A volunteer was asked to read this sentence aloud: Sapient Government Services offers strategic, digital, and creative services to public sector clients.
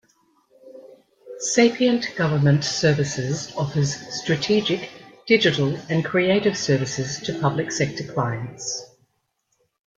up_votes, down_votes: 2, 0